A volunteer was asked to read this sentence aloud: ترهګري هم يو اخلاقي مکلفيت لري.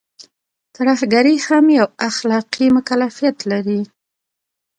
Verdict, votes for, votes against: accepted, 2, 1